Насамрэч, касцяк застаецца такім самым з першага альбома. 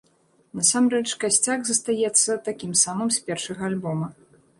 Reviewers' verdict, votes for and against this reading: accepted, 2, 0